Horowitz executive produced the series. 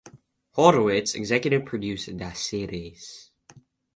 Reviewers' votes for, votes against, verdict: 2, 0, accepted